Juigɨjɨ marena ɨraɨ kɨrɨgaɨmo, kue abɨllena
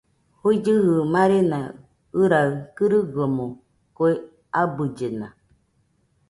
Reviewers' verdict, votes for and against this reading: accepted, 2, 0